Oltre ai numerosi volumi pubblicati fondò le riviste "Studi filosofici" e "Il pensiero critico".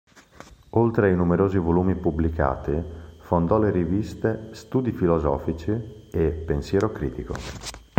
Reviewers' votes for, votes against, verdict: 0, 2, rejected